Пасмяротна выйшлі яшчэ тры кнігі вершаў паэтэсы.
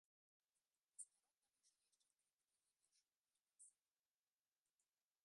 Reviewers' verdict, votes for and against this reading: rejected, 0, 2